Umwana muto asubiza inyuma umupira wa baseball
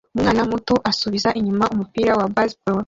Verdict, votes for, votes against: accepted, 2, 1